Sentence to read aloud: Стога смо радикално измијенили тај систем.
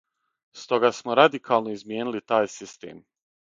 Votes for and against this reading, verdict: 6, 0, accepted